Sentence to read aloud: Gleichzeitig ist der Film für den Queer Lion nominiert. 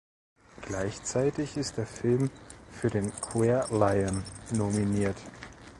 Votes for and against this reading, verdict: 1, 2, rejected